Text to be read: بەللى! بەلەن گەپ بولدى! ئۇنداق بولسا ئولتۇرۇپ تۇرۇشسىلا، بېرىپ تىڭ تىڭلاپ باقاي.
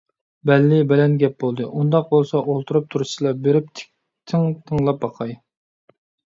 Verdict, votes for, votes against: rejected, 0, 2